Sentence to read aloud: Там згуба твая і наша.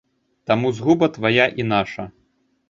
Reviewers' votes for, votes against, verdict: 0, 2, rejected